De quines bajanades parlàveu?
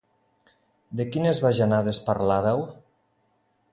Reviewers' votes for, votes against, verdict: 2, 0, accepted